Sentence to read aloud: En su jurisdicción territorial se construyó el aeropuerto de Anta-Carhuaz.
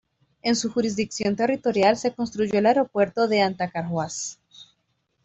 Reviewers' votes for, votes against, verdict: 2, 0, accepted